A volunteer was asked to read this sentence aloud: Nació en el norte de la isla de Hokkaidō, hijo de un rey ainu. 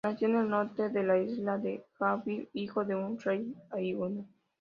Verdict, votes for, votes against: accepted, 2, 0